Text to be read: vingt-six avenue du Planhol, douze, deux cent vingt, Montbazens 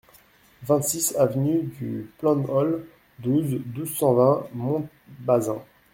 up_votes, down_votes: 1, 2